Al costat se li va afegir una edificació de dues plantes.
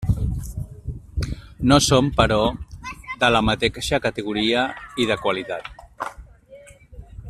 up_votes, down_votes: 0, 2